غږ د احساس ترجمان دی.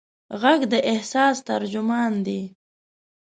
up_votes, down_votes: 2, 0